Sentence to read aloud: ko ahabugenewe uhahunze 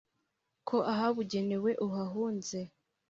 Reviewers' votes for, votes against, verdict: 3, 0, accepted